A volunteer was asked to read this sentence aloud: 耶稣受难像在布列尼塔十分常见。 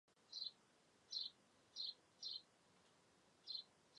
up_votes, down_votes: 1, 2